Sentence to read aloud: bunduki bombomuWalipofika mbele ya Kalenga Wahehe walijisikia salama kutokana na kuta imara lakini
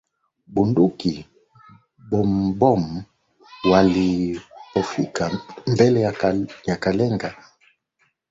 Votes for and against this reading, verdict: 0, 2, rejected